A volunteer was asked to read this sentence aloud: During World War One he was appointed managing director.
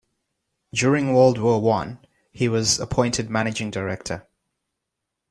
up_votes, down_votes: 2, 0